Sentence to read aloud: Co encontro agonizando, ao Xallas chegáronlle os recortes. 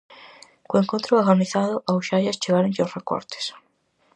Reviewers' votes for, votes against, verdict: 0, 4, rejected